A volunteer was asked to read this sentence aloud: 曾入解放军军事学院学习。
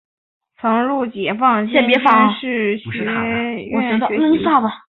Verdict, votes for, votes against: accepted, 3, 1